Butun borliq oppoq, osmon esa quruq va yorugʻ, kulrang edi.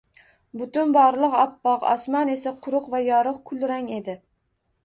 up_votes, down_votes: 2, 0